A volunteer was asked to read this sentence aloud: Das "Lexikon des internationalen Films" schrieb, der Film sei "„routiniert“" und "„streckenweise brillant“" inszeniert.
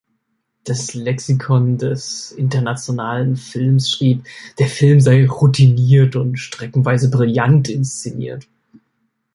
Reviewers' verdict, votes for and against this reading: accepted, 2, 0